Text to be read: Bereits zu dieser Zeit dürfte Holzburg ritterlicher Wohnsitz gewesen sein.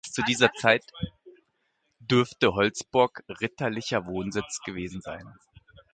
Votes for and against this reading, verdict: 1, 2, rejected